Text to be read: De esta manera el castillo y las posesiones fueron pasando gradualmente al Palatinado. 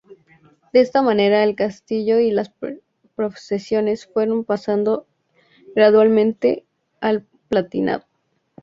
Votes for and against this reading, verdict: 2, 0, accepted